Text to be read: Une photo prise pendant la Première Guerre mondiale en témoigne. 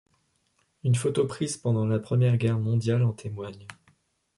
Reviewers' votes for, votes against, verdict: 2, 0, accepted